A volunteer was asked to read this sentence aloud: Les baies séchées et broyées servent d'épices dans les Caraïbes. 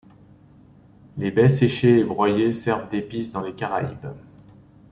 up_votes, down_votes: 2, 0